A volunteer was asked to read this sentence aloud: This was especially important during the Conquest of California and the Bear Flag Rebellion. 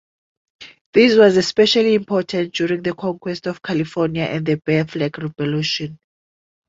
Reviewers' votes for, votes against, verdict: 1, 2, rejected